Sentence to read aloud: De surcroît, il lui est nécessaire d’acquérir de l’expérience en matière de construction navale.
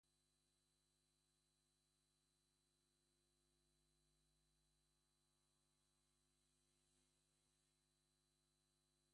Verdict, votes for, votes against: rejected, 0, 2